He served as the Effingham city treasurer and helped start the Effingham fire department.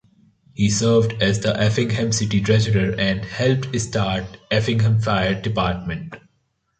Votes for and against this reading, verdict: 1, 2, rejected